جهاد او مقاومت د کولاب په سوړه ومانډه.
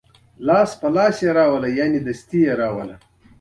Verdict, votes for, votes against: accepted, 2, 0